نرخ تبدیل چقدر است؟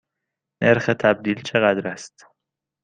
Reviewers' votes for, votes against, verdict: 2, 0, accepted